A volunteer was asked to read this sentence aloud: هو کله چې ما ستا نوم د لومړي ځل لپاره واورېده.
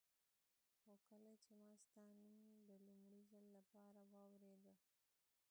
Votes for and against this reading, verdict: 1, 2, rejected